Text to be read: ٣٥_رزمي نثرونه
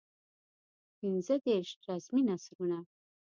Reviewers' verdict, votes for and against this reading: rejected, 0, 2